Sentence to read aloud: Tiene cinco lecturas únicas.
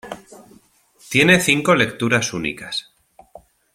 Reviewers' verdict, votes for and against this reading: accepted, 2, 0